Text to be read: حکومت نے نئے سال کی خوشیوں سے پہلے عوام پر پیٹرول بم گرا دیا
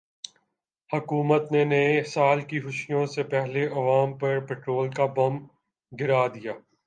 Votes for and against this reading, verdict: 2, 0, accepted